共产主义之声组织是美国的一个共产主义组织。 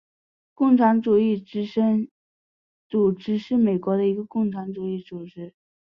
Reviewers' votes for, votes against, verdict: 2, 0, accepted